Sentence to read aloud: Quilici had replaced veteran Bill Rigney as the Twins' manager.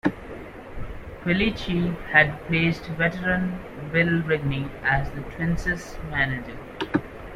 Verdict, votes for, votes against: accepted, 2, 1